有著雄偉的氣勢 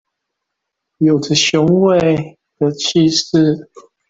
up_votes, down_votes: 2, 0